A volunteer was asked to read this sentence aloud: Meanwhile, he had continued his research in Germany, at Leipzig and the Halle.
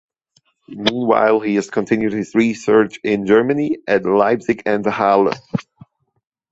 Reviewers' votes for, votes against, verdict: 1, 2, rejected